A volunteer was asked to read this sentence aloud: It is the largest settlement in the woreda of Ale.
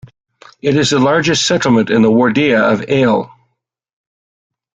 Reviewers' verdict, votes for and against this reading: rejected, 1, 2